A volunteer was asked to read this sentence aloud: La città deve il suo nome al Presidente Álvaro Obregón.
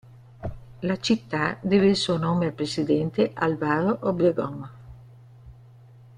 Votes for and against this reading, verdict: 2, 0, accepted